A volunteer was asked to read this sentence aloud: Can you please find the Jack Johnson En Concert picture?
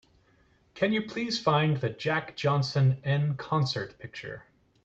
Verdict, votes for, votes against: accepted, 2, 0